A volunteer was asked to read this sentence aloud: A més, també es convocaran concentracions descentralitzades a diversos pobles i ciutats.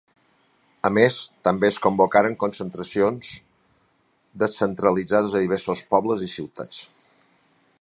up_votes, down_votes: 0, 2